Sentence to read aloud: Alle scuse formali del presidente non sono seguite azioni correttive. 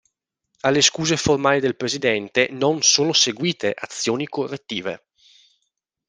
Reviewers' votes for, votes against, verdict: 2, 0, accepted